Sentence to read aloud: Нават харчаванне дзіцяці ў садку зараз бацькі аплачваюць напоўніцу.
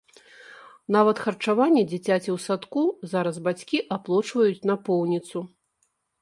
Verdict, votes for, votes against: rejected, 0, 2